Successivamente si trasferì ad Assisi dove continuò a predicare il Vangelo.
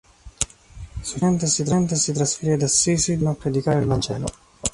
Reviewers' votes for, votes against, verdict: 0, 3, rejected